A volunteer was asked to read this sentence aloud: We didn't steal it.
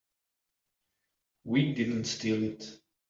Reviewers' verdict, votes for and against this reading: accepted, 2, 0